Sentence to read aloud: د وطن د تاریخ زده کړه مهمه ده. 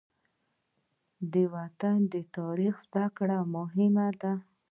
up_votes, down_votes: 2, 0